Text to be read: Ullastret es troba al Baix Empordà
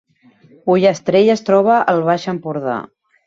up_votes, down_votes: 0, 2